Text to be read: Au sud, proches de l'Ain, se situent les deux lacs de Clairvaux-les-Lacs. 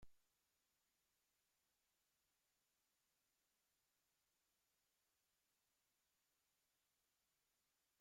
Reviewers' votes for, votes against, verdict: 0, 2, rejected